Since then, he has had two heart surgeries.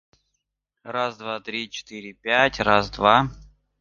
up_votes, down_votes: 0, 2